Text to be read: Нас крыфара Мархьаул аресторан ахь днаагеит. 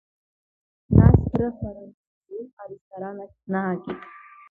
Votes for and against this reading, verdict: 0, 2, rejected